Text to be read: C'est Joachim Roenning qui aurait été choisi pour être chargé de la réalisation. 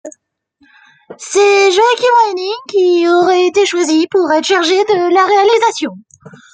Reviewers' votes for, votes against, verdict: 0, 2, rejected